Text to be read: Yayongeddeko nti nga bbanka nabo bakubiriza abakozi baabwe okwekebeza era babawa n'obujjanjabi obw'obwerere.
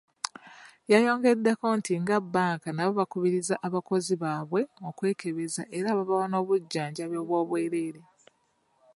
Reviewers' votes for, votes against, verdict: 0, 2, rejected